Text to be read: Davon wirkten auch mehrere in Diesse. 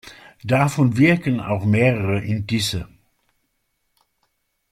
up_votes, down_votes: 1, 2